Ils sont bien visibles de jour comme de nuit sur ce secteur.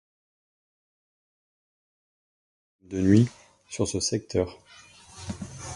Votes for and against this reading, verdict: 1, 2, rejected